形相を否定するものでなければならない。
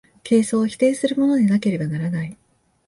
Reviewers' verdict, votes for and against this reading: rejected, 1, 2